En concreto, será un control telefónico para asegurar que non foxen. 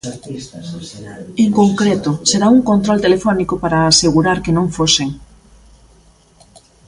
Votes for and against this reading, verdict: 2, 1, accepted